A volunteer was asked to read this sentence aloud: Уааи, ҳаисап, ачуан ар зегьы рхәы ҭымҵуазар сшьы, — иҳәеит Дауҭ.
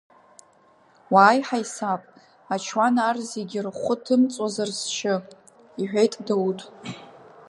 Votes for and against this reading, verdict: 2, 0, accepted